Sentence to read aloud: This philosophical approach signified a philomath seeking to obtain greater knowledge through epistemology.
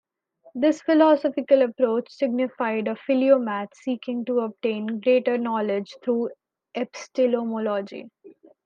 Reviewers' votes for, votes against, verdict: 1, 2, rejected